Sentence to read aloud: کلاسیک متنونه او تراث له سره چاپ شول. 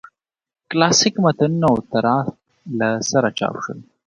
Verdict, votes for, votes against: accepted, 2, 1